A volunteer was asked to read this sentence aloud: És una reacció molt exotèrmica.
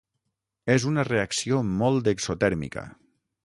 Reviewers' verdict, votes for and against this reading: rejected, 3, 6